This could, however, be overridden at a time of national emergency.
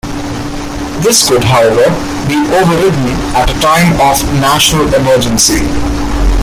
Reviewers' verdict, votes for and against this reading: rejected, 2, 3